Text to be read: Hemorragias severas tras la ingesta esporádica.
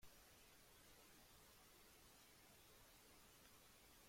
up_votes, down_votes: 0, 2